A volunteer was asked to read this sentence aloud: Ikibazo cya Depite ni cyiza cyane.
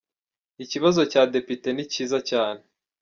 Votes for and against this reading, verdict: 2, 0, accepted